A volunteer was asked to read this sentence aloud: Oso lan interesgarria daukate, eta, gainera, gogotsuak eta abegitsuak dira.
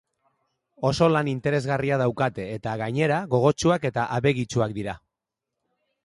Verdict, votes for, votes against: accepted, 2, 0